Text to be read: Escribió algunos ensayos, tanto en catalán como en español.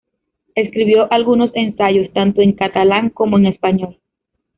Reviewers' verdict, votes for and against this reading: accepted, 2, 1